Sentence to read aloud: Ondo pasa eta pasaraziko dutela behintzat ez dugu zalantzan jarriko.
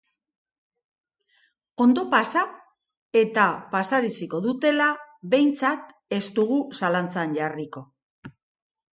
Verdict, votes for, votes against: accepted, 4, 0